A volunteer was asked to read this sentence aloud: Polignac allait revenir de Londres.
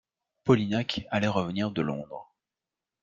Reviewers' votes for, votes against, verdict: 2, 0, accepted